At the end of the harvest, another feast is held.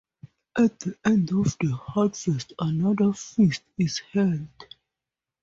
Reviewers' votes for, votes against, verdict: 4, 0, accepted